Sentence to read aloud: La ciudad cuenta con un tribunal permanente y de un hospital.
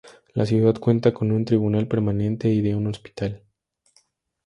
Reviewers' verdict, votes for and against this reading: accepted, 2, 0